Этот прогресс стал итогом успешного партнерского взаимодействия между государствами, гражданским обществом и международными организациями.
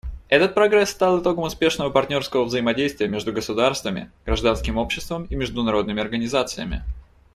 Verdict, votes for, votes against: accepted, 2, 0